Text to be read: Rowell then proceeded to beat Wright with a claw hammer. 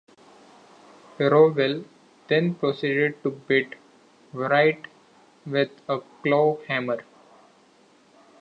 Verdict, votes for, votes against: accepted, 2, 1